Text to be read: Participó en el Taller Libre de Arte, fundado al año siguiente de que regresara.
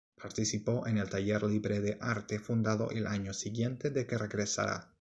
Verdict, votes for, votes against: rejected, 0, 2